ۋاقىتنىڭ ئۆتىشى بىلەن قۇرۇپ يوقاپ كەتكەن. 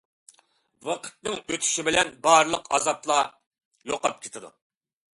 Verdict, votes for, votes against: rejected, 0, 2